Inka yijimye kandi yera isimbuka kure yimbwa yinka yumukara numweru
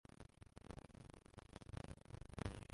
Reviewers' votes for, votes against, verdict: 0, 2, rejected